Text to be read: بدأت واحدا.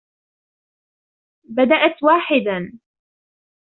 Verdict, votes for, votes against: rejected, 1, 2